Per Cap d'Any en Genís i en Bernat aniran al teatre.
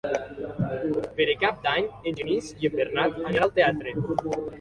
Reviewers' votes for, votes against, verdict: 0, 2, rejected